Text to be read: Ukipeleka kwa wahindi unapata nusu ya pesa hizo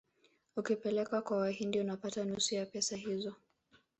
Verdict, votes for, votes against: rejected, 1, 2